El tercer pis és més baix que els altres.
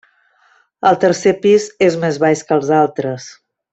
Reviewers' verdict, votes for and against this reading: accepted, 3, 0